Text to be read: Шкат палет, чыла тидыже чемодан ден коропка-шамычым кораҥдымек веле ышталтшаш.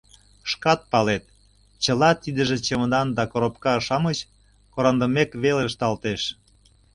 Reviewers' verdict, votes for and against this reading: rejected, 0, 2